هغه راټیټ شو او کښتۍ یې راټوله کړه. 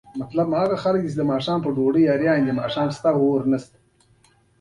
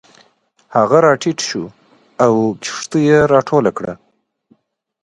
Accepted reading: second